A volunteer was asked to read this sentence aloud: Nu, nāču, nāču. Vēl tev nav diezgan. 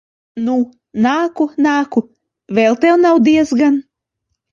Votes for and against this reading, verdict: 0, 2, rejected